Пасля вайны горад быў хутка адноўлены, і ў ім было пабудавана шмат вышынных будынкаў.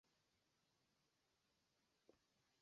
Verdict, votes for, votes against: rejected, 0, 2